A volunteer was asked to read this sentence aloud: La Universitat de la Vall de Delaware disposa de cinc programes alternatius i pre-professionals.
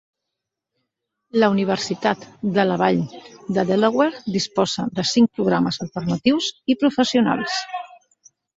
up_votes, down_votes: 1, 2